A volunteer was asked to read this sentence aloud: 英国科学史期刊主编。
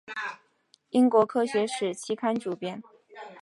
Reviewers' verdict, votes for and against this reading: accepted, 5, 0